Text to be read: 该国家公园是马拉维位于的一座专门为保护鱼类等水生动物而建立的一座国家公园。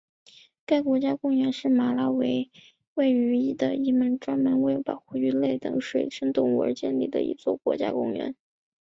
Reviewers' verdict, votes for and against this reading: accepted, 5, 1